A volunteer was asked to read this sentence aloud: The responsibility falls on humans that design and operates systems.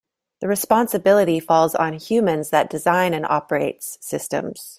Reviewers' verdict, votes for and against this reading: accepted, 2, 0